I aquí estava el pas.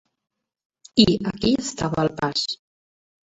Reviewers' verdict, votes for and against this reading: rejected, 1, 2